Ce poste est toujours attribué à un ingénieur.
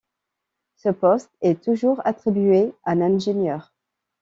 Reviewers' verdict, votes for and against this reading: rejected, 1, 2